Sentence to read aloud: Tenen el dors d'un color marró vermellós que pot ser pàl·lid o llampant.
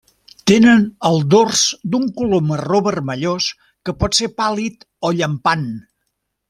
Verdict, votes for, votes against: accepted, 3, 0